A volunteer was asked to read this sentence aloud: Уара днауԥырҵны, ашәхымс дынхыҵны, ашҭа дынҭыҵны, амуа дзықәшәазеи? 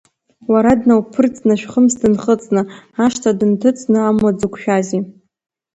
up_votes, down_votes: 0, 2